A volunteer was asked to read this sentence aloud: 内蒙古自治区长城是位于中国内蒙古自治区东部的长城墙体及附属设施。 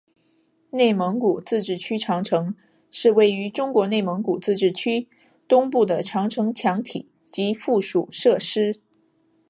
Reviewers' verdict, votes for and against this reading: accepted, 2, 0